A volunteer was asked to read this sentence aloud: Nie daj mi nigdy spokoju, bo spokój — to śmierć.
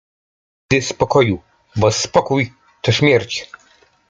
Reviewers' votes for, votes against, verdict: 1, 2, rejected